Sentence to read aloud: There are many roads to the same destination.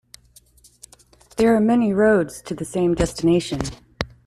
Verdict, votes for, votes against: accepted, 2, 0